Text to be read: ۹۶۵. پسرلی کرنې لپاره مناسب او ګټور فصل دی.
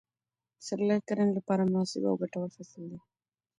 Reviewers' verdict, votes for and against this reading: rejected, 0, 2